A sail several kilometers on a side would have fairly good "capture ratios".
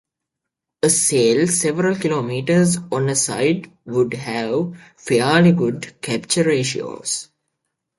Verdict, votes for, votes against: rejected, 1, 2